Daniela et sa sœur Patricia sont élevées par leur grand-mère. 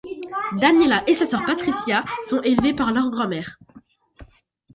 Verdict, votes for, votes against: accepted, 2, 0